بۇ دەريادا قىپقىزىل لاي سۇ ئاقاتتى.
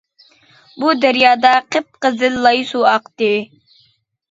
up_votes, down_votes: 0, 2